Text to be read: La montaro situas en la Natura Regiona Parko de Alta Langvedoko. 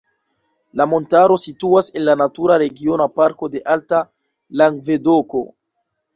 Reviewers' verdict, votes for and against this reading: rejected, 0, 2